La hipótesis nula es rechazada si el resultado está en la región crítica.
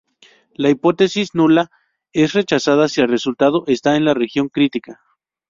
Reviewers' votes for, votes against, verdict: 2, 0, accepted